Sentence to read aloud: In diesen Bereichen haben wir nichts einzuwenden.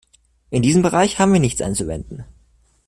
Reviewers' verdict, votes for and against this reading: rejected, 1, 2